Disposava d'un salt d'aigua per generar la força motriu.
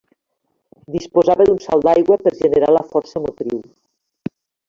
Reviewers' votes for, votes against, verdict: 3, 1, accepted